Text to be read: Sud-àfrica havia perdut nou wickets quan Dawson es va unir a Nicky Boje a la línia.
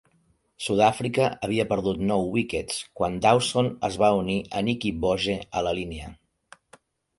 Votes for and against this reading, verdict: 2, 0, accepted